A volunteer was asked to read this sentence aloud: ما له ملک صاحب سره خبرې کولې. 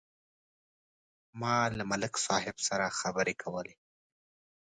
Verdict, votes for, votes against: accepted, 2, 0